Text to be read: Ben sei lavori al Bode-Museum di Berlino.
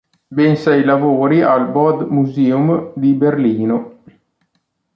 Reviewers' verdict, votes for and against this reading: accepted, 2, 0